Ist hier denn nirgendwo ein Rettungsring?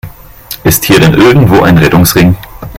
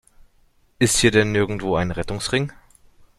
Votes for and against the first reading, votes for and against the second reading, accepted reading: 0, 2, 2, 0, second